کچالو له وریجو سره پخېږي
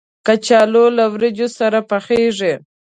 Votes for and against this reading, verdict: 2, 0, accepted